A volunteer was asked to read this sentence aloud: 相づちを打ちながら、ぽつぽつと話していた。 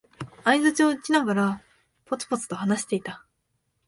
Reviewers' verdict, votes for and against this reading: accepted, 2, 0